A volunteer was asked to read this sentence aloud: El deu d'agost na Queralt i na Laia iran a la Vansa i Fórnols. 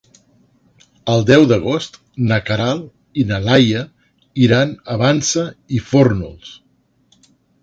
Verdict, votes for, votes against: rejected, 0, 2